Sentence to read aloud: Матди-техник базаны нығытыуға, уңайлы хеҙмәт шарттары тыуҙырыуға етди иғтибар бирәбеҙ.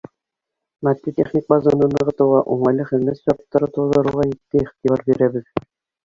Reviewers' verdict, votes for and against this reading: rejected, 1, 2